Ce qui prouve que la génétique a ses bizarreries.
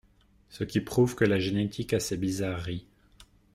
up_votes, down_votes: 2, 0